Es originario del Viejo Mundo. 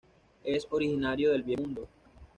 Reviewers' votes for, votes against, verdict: 1, 2, rejected